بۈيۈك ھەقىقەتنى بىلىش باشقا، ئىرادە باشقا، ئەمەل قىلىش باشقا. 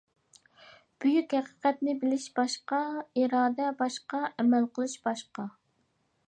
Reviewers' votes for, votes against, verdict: 2, 0, accepted